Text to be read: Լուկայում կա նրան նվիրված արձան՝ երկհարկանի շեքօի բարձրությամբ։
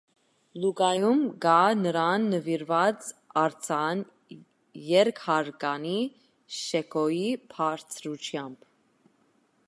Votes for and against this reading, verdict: 2, 0, accepted